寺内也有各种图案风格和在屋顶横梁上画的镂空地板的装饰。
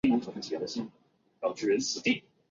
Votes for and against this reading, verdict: 0, 5, rejected